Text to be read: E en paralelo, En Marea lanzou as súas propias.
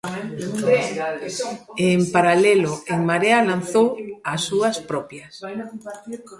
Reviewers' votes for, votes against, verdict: 0, 2, rejected